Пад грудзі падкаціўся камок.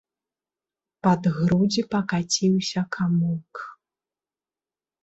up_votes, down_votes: 0, 2